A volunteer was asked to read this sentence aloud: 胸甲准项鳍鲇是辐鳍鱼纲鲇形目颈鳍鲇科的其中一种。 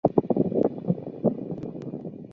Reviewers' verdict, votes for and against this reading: rejected, 2, 3